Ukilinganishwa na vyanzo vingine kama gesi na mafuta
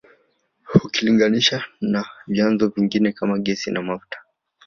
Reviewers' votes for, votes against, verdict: 1, 2, rejected